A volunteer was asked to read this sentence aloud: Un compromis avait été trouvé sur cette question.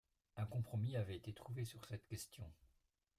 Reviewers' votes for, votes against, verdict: 0, 2, rejected